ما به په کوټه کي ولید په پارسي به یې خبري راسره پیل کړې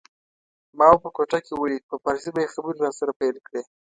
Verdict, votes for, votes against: accepted, 2, 0